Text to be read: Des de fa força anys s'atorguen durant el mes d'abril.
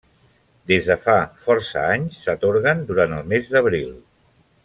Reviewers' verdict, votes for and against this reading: accepted, 3, 0